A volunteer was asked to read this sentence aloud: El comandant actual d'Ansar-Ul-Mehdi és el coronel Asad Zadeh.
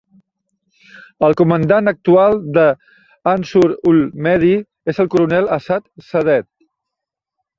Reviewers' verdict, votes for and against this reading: rejected, 1, 2